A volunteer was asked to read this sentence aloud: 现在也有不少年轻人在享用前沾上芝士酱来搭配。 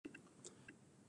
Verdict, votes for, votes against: rejected, 0, 2